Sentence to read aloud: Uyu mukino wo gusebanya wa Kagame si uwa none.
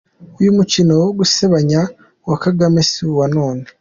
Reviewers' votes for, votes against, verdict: 2, 1, accepted